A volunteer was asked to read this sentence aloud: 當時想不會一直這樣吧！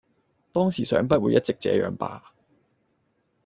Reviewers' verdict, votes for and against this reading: accepted, 2, 0